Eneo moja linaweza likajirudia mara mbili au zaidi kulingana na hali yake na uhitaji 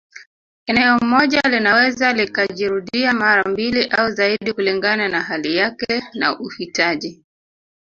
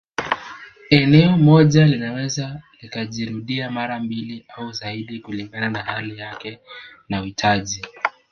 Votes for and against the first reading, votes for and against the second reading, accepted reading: 1, 2, 2, 0, second